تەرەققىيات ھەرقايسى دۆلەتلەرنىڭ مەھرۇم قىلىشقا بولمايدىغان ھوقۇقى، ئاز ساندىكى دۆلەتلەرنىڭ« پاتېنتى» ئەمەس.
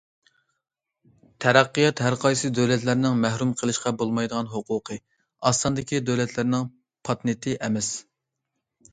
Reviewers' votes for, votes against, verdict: 1, 2, rejected